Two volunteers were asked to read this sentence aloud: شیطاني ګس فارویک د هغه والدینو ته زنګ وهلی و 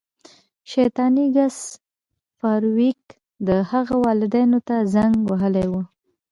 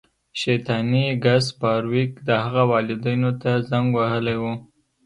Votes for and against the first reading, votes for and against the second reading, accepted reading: 1, 2, 2, 0, second